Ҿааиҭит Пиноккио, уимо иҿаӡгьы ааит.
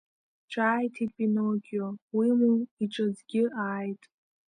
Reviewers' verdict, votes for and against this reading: rejected, 1, 2